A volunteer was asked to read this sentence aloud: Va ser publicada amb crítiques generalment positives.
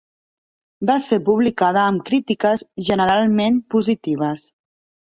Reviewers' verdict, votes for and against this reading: accepted, 3, 1